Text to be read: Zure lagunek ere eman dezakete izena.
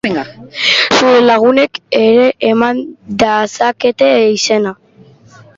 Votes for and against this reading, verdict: 0, 3, rejected